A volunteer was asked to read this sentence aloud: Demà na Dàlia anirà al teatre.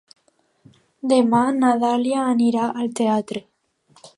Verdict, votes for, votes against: accepted, 2, 0